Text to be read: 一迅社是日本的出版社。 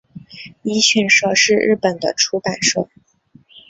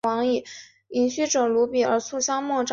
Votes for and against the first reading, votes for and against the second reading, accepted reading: 2, 0, 0, 4, first